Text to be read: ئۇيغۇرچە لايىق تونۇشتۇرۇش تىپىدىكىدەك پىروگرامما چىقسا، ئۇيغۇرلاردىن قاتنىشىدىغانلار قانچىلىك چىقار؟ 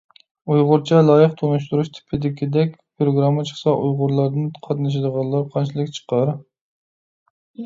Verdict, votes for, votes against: rejected, 0, 2